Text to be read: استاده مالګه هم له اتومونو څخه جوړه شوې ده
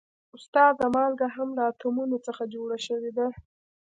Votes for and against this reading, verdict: 2, 0, accepted